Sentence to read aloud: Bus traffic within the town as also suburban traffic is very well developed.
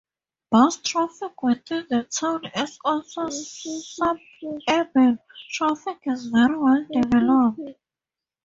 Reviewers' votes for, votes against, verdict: 0, 4, rejected